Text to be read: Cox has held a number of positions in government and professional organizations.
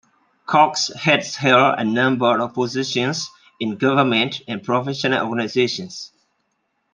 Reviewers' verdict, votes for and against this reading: accepted, 2, 0